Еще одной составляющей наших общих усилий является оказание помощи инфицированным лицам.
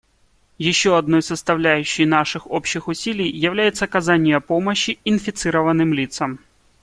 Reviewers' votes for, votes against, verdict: 2, 0, accepted